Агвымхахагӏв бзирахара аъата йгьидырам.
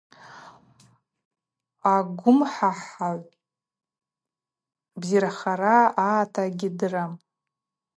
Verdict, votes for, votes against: rejected, 2, 2